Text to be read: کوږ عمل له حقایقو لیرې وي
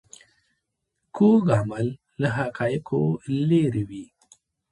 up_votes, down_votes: 0, 2